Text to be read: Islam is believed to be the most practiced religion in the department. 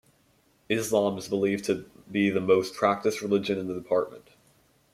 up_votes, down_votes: 2, 0